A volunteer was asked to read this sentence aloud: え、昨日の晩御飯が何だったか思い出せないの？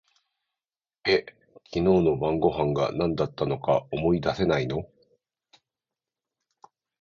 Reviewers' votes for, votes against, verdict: 2, 0, accepted